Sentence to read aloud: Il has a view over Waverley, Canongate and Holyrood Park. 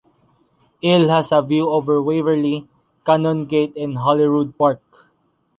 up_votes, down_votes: 2, 1